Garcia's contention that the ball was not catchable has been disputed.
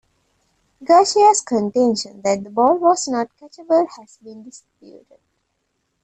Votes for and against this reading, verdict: 0, 2, rejected